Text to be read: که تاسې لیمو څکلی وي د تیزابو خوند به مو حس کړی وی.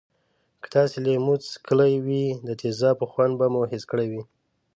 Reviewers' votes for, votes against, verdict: 2, 0, accepted